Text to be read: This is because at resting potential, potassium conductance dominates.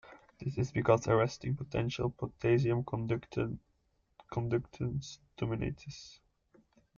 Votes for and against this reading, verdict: 0, 2, rejected